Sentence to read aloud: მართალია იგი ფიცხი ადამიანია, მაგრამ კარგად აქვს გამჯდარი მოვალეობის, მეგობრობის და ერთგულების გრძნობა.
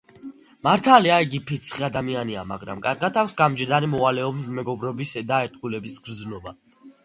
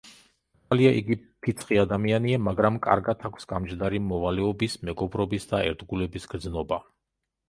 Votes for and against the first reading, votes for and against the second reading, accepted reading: 2, 0, 1, 2, first